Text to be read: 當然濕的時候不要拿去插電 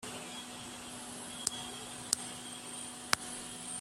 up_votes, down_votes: 0, 2